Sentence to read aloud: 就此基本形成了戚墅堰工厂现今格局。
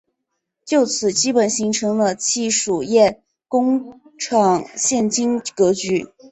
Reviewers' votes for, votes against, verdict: 4, 0, accepted